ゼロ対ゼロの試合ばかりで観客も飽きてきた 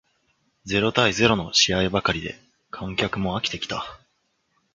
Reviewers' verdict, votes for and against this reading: accepted, 2, 0